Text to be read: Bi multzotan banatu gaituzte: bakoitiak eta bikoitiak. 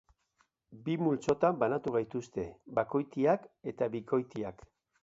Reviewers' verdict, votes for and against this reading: accepted, 2, 0